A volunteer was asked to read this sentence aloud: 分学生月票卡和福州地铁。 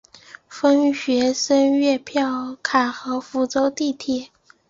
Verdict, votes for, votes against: rejected, 0, 2